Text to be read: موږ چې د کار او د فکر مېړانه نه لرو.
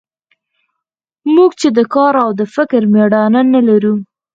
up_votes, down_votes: 0, 4